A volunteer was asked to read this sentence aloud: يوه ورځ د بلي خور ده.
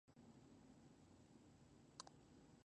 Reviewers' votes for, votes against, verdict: 1, 2, rejected